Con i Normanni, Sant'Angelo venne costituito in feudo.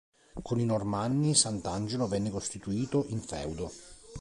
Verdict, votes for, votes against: accepted, 2, 0